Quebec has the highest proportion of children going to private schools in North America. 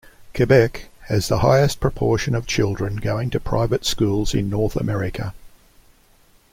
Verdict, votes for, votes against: accepted, 2, 0